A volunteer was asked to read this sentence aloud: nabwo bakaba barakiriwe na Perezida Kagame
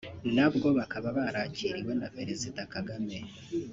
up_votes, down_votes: 2, 0